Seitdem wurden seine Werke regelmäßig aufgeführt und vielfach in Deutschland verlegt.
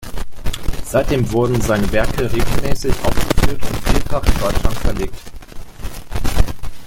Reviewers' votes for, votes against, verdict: 2, 0, accepted